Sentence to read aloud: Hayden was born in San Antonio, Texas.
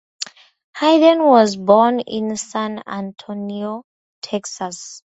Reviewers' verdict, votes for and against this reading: accepted, 2, 0